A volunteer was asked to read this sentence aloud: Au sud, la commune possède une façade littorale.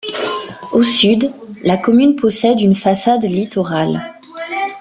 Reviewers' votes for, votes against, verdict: 1, 2, rejected